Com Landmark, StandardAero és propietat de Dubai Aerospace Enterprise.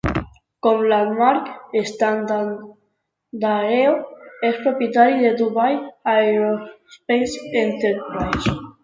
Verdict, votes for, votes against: rejected, 1, 2